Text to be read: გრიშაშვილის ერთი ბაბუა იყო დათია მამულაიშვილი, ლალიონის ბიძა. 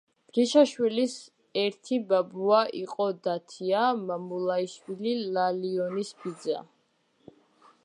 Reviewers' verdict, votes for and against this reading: accepted, 2, 0